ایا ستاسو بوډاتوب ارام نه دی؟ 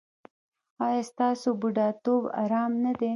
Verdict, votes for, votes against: accepted, 2, 0